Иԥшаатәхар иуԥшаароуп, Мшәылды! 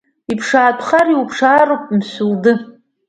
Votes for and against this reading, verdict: 1, 2, rejected